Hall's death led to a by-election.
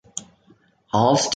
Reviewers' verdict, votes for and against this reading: rejected, 0, 2